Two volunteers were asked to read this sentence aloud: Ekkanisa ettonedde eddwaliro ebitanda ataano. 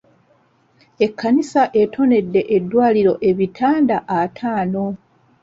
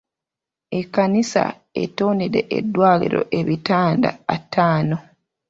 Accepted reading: first